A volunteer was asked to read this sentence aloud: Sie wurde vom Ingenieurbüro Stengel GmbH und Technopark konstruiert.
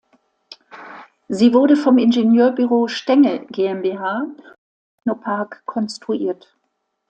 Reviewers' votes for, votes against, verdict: 1, 2, rejected